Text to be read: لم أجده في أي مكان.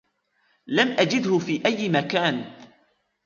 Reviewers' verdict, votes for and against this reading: accepted, 2, 1